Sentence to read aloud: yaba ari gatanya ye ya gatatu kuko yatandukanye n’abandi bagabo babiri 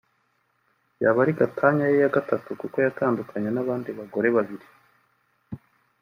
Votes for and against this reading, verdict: 0, 2, rejected